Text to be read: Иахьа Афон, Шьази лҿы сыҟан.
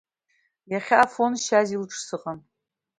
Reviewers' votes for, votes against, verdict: 2, 0, accepted